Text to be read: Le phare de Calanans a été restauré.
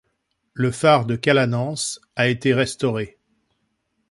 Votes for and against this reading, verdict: 2, 0, accepted